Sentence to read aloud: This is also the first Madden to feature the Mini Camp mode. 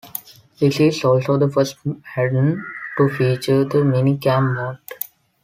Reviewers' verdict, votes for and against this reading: rejected, 1, 2